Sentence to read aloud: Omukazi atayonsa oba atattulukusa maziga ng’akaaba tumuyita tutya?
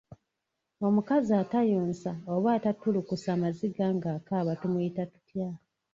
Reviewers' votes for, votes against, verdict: 0, 2, rejected